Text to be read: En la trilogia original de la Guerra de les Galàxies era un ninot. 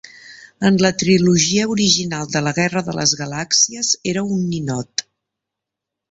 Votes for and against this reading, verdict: 3, 0, accepted